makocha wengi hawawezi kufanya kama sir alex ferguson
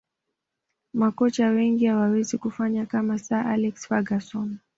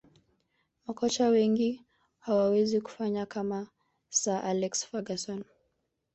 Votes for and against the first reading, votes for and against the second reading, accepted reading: 2, 0, 1, 2, first